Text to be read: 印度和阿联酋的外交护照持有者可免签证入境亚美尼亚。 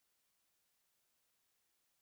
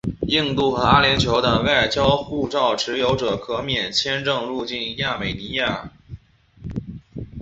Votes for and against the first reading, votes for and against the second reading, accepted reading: 1, 5, 2, 0, second